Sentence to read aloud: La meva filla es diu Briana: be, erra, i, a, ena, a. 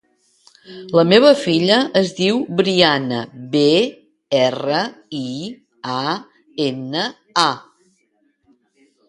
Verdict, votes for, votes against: accepted, 2, 0